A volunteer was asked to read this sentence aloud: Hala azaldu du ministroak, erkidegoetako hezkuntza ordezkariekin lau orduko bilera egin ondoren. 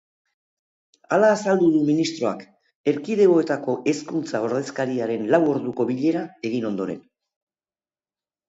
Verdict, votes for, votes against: rejected, 1, 2